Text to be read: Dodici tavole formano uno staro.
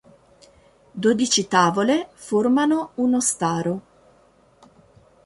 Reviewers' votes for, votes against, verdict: 2, 0, accepted